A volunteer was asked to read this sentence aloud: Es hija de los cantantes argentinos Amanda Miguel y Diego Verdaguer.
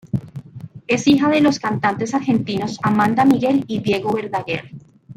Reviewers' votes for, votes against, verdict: 0, 2, rejected